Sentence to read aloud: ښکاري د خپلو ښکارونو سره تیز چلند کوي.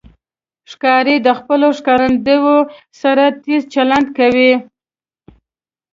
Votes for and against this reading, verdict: 1, 2, rejected